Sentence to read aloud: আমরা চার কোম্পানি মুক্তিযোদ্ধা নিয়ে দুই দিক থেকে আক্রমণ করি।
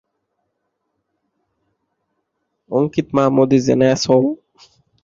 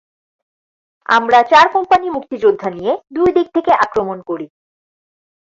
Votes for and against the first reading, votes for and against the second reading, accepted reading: 0, 3, 4, 0, second